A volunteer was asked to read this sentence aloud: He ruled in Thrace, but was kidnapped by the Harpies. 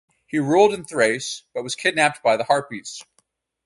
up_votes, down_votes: 2, 2